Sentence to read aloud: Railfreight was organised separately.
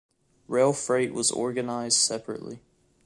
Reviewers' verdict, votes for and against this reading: accepted, 2, 0